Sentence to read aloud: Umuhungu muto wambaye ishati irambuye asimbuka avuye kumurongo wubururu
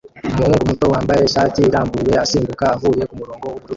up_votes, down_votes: 0, 2